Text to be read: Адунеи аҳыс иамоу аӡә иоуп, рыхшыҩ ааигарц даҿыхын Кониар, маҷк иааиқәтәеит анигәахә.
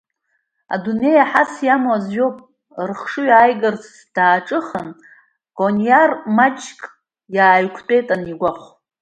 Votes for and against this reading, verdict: 1, 2, rejected